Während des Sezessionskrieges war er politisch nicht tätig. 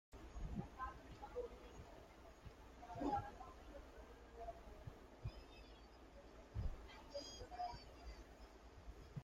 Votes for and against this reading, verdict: 0, 2, rejected